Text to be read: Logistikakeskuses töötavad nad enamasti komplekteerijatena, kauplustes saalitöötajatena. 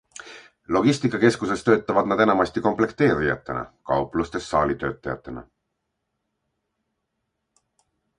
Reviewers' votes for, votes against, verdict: 2, 0, accepted